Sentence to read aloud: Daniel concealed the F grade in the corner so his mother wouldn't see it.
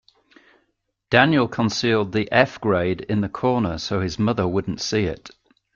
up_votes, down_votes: 2, 0